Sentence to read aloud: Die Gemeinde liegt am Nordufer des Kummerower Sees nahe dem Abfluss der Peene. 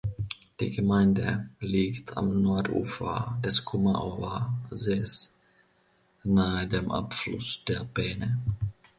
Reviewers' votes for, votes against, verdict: 2, 0, accepted